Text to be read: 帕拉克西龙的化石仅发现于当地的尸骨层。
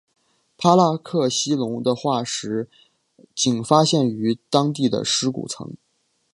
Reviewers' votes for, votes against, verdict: 2, 1, accepted